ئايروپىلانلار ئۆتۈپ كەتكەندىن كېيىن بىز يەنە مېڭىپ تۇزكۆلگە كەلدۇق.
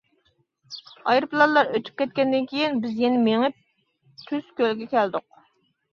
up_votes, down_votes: 0, 2